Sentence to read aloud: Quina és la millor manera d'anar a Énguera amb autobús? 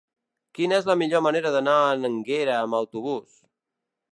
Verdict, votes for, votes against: rejected, 2, 3